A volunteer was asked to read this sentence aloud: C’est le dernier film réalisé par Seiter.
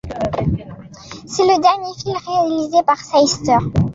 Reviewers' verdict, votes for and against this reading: rejected, 1, 2